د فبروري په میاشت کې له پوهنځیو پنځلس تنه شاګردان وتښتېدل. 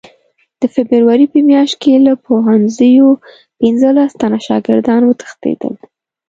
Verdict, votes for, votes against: accepted, 2, 0